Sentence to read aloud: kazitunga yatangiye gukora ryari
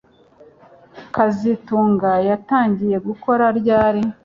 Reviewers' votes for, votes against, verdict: 2, 0, accepted